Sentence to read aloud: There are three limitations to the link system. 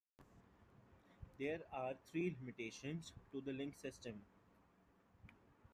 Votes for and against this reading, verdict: 2, 1, accepted